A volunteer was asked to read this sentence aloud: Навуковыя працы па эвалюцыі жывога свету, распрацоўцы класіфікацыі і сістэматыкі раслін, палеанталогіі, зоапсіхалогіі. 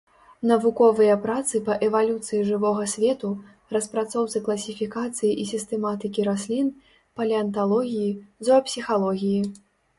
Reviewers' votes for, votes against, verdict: 3, 0, accepted